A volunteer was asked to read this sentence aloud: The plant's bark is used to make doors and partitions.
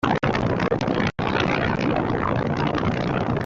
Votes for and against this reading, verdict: 0, 2, rejected